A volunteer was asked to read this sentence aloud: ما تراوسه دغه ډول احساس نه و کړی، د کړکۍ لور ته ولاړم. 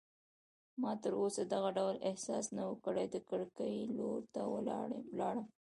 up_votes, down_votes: 2, 0